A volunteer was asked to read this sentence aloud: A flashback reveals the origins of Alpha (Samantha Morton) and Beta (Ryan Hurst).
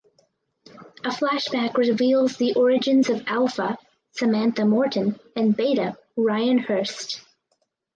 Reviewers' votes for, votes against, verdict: 4, 0, accepted